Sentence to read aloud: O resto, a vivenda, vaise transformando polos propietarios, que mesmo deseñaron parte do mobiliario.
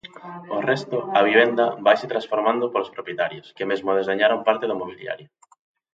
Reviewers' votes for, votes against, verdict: 1, 2, rejected